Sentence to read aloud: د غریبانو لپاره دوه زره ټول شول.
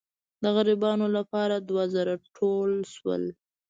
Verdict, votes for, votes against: accepted, 2, 0